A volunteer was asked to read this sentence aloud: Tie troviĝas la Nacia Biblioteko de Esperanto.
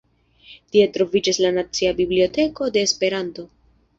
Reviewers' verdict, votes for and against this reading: rejected, 1, 2